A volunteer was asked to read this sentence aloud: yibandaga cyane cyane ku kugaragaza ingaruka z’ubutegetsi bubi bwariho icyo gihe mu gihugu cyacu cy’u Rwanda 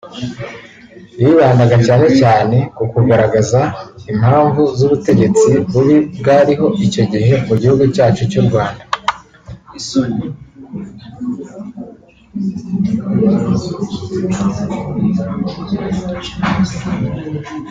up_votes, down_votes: 0, 2